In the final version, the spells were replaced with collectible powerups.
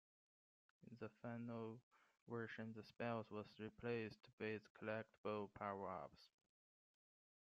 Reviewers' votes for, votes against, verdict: 2, 0, accepted